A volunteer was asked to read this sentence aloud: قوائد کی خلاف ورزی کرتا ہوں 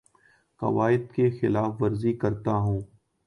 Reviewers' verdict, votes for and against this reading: accepted, 2, 0